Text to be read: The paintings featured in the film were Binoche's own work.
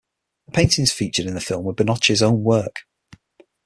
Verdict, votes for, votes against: rejected, 3, 6